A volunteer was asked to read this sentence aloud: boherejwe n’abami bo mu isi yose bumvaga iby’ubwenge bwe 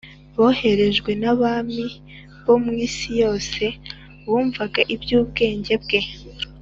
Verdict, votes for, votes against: accepted, 2, 0